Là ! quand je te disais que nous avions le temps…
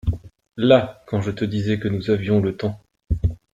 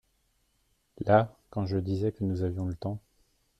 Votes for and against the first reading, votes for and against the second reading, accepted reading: 2, 0, 1, 2, first